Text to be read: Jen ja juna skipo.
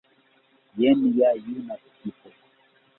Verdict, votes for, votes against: rejected, 0, 2